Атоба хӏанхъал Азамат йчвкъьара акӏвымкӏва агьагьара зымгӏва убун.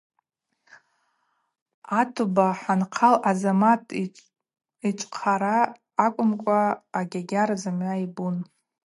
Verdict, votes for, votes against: rejected, 2, 2